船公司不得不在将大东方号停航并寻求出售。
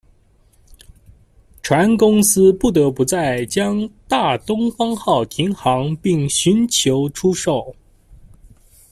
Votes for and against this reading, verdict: 1, 2, rejected